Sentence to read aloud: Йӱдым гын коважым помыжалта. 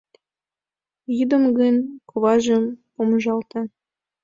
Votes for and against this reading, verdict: 2, 0, accepted